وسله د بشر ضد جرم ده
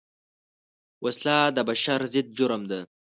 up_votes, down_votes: 2, 0